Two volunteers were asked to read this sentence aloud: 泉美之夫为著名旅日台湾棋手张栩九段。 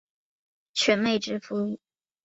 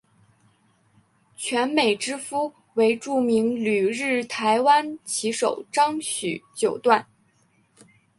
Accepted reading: second